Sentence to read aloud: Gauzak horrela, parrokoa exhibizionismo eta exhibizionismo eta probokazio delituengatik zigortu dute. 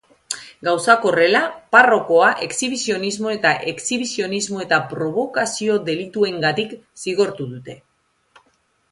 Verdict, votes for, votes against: accepted, 2, 0